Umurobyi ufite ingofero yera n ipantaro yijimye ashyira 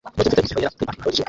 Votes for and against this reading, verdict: 0, 2, rejected